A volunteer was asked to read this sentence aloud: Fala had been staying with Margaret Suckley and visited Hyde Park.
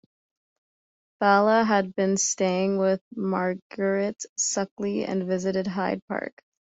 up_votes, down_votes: 2, 0